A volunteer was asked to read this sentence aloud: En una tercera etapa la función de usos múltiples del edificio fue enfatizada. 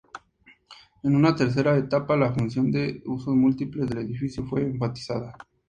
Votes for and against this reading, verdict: 2, 0, accepted